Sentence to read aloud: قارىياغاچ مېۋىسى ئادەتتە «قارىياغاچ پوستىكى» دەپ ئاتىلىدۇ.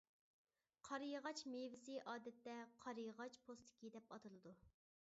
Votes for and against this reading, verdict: 2, 0, accepted